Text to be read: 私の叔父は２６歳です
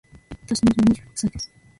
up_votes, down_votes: 0, 2